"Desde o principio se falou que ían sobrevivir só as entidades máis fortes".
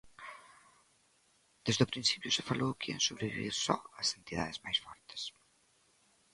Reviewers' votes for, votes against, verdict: 1, 2, rejected